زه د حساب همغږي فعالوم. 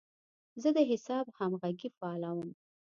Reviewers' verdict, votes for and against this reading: accepted, 2, 0